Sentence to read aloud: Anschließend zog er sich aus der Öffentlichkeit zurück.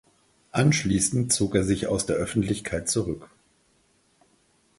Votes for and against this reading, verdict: 4, 0, accepted